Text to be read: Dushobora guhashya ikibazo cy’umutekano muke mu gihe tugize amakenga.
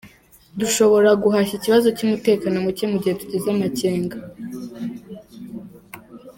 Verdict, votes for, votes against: accepted, 4, 0